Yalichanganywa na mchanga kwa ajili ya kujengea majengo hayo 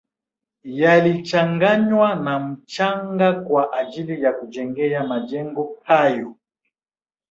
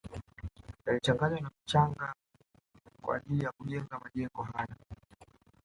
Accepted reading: first